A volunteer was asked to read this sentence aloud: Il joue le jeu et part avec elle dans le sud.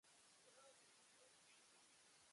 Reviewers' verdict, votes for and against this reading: rejected, 0, 2